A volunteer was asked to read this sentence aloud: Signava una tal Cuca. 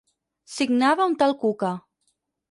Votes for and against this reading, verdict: 2, 4, rejected